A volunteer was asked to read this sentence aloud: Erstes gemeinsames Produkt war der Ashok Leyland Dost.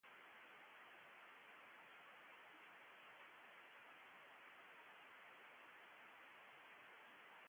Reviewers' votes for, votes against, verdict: 0, 2, rejected